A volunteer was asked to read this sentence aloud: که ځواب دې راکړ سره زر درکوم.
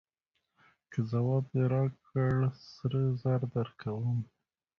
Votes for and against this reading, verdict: 0, 2, rejected